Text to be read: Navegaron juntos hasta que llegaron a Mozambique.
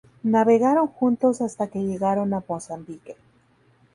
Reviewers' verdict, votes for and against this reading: accepted, 2, 0